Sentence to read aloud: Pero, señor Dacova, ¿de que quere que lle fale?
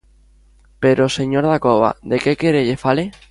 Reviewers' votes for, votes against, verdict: 0, 2, rejected